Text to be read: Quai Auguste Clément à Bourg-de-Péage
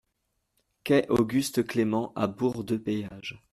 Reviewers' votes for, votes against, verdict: 2, 0, accepted